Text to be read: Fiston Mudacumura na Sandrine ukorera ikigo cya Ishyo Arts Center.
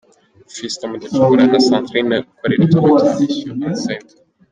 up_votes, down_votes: 0, 2